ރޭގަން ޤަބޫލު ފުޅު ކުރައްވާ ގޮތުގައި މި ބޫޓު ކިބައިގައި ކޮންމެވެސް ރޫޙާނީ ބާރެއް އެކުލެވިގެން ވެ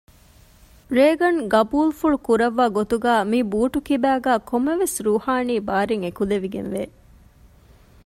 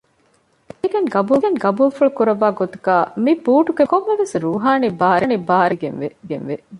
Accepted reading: first